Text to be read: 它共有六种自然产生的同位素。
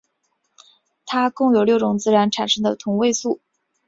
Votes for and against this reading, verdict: 3, 0, accepted